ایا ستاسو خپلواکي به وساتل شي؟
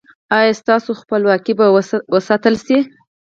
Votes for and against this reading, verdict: 4, 2, accepted